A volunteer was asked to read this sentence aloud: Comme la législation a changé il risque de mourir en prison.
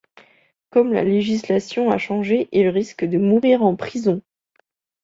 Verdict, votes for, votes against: accepted, 2, 0